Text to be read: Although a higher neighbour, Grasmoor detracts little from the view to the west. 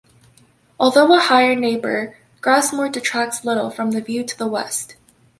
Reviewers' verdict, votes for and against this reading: accepted, 3, 0